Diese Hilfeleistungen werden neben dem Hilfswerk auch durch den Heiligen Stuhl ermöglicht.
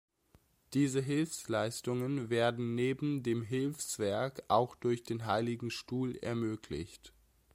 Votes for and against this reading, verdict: 1, 2, rejected